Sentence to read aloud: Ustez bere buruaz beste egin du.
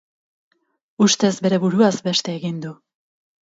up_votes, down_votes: 2, 2